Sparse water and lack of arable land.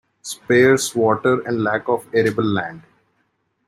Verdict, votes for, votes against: rejected, 1, 2